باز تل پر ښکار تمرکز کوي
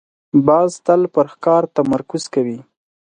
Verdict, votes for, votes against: accepted, 6, 0